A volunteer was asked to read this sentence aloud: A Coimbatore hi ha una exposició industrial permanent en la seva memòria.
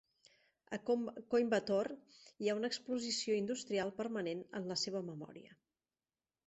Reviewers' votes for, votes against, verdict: 0, 2, rejected